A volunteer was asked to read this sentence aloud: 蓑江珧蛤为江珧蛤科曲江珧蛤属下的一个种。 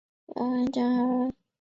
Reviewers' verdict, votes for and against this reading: rejected, 0, 3